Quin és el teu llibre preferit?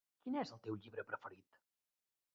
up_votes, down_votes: 1, 2